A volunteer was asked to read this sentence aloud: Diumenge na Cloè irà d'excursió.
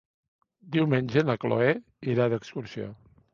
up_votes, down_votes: 3, 0